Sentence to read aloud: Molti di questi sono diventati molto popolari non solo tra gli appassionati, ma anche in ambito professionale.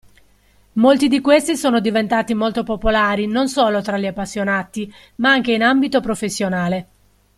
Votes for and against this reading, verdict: 2, 0, accepted